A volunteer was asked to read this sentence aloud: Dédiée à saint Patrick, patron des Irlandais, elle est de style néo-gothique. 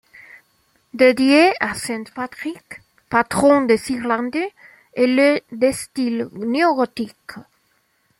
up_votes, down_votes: 2, 1